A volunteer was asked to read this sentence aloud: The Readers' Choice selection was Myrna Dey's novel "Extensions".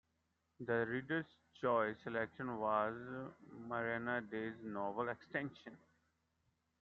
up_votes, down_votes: 0, 2